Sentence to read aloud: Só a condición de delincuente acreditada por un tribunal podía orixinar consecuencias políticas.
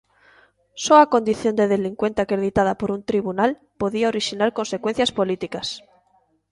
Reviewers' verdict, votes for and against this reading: accepted, 4, 0